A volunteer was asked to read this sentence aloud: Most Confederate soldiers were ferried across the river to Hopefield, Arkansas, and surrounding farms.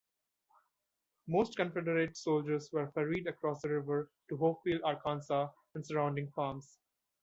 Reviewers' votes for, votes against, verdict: 2, 1, accepted